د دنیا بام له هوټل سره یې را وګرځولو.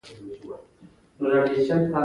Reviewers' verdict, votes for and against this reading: rejected, 0, 2